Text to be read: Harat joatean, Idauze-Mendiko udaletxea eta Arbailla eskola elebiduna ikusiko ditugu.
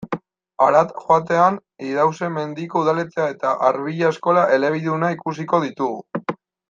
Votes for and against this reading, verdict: 0, 3, rejected